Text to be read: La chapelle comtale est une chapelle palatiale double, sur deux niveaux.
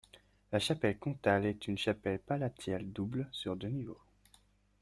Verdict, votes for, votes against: accepted, 2, 0